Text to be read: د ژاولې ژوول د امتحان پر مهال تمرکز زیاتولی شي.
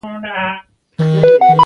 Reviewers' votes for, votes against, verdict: 2, 1, accepted